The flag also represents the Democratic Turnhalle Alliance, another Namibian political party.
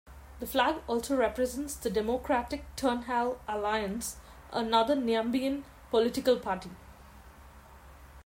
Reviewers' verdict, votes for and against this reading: rejected, 1, 2